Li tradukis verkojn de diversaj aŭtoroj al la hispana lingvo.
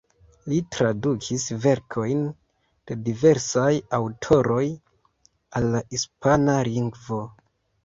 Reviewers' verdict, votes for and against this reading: accepted, 2, 0